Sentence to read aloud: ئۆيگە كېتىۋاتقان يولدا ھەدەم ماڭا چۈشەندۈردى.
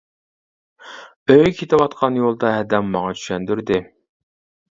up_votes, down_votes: 2, 1